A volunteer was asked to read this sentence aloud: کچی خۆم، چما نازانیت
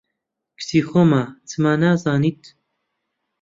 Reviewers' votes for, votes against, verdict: 1, 2, rejected